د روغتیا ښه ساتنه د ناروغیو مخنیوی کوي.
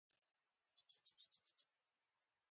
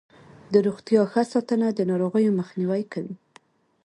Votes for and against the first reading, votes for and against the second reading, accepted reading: 0, 2, 2, 0, second